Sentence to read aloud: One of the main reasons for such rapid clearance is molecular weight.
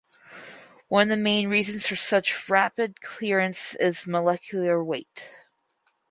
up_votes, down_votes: 2, 2